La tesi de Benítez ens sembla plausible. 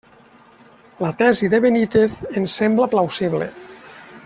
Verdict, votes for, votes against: accepted, 2, 0